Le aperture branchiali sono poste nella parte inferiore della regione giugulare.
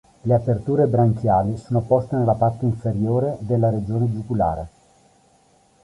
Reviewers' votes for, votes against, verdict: 2, 0, accepted